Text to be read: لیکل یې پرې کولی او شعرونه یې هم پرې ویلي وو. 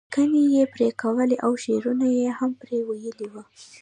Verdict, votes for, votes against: rejected, 1, 2